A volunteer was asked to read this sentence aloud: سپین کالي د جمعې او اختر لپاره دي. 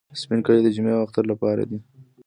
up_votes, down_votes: 0, 2